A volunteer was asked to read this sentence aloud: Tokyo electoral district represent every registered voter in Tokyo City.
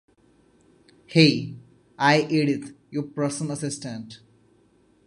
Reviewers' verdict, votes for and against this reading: rejected, 0, 2